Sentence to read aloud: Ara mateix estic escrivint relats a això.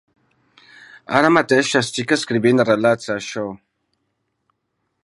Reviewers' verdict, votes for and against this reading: rejected, 0, 2